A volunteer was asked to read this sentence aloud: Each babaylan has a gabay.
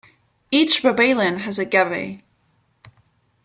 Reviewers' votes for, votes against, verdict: 2, 0, accepted